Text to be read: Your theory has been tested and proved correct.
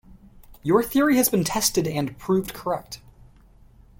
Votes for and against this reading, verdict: 2, 0, accepted